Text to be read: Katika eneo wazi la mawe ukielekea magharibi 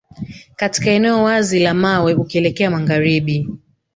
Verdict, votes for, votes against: accepted, 3, 1